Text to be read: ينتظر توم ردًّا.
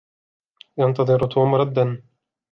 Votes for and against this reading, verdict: 1, 2, rejected